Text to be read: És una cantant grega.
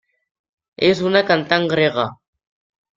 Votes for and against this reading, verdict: 3, 0, accepted